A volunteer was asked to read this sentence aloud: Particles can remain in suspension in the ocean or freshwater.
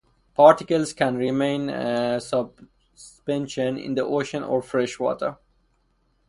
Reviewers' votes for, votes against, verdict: 2, 4, rejected